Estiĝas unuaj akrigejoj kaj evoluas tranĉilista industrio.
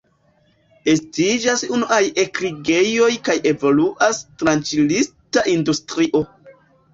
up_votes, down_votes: 1, 2